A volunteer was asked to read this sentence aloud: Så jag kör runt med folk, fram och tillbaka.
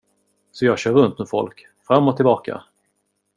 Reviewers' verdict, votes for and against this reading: accepted, 2, 0